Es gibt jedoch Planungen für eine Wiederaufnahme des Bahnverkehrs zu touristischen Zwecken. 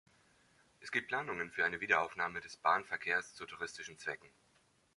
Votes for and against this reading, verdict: 1, 2, rejected